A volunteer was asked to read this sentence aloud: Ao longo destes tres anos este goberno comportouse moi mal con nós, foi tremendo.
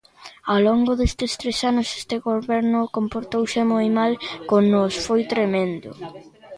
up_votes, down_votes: 0, 2